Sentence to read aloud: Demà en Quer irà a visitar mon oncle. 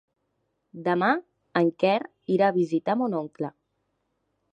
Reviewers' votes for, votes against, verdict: 2, 0, accepted